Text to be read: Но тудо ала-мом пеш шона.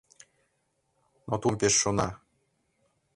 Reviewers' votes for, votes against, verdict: 0, 2, rejected